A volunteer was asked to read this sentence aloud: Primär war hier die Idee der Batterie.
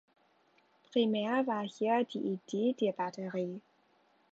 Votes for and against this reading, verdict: 2, 0, accepted